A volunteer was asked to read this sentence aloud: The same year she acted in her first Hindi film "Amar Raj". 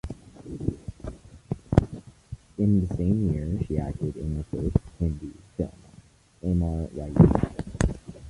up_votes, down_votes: 0, 2